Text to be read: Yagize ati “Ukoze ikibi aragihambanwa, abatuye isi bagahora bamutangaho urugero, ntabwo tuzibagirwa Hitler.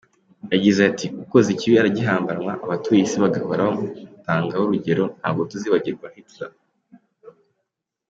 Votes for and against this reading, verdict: 2, 1, accepted